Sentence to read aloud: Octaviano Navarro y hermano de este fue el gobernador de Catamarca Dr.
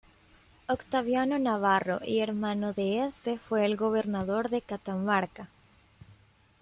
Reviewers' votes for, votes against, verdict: 0, 2, rejected